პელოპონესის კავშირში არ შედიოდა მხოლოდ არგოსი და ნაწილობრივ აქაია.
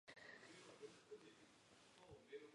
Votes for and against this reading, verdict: 0, 2, rejected